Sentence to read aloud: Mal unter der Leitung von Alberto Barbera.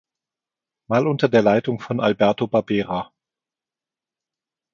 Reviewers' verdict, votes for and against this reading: accepted, 2, 0